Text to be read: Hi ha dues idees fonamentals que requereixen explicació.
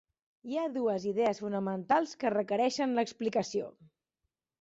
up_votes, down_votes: 1, 2